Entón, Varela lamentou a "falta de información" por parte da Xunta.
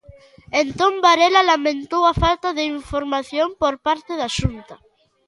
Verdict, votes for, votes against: accepted, 2, 0